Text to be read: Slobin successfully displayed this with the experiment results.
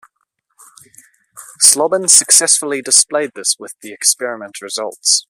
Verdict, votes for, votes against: accepted, 2, 0